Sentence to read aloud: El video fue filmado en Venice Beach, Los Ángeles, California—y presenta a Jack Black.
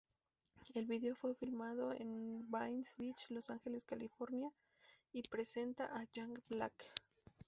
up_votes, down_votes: 2, 0